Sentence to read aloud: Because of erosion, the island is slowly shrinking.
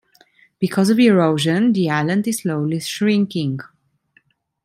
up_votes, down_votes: 1, 2